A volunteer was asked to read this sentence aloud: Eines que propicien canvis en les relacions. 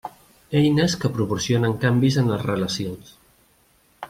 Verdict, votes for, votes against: rejected, 0, 2